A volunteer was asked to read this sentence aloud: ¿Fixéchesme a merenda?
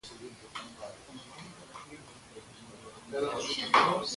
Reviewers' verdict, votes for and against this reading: rejected, 0, 2